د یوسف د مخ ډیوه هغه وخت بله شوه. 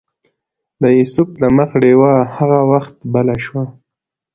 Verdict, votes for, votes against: accepted, 2, 0